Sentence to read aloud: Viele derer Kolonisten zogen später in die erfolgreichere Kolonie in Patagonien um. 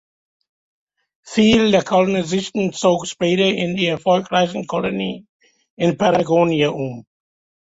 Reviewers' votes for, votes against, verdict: 0, 3, rejected